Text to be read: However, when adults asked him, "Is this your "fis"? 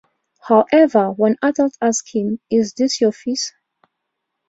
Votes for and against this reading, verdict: 2, 0, accepted